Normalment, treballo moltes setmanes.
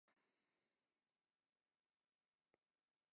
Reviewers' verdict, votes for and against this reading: rejected, 0, 2